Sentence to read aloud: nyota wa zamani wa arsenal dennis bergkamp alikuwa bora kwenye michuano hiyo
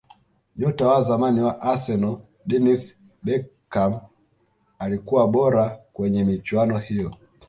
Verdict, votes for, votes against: accepted, 2, 1